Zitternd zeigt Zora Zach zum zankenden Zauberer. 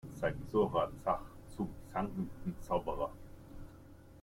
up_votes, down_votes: 0, 2